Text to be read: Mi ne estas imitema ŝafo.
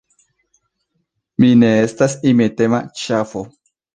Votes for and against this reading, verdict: 2, 0, accepted